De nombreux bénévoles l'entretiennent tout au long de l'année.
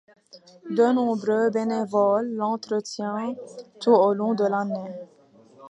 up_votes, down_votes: 1, 2